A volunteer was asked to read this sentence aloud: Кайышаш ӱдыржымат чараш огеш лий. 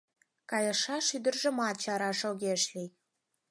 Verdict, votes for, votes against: accepted, 4, 0